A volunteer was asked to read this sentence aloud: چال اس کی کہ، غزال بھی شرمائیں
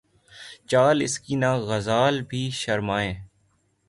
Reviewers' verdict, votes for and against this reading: rejected, 3, 3